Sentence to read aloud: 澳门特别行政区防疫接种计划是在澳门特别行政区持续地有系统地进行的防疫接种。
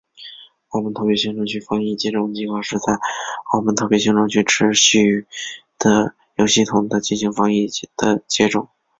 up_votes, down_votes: 1, 2